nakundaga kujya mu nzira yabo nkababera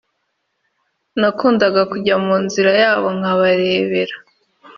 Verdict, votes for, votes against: accepted, 2, 0